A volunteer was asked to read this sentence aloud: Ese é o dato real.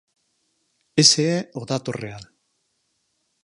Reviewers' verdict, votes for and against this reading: accepted, 4, 0